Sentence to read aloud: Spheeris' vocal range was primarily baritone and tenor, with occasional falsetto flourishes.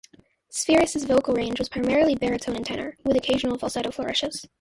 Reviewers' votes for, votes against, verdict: 1, 2, rejected